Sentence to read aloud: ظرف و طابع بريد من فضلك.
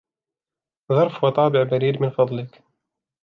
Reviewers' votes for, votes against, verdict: 2, 0, accepted